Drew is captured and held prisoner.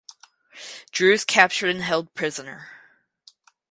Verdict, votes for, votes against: accepted, 4, 0